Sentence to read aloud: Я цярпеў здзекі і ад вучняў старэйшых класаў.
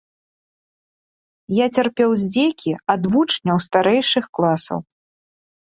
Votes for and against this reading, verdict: 1, 2, rejected